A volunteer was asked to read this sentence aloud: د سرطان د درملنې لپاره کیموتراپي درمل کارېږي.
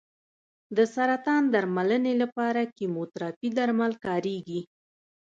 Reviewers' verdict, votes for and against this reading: accepted, 3, 2